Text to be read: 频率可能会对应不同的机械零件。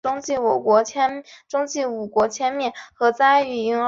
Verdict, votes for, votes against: rejected, 1, 2